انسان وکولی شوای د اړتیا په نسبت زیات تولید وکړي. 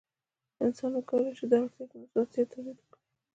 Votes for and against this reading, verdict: 2, 0, accepted